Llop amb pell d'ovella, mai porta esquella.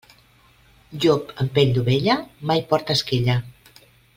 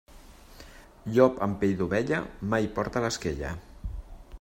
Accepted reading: first